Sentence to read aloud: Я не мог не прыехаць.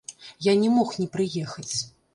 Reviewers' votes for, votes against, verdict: 1, 2, rejected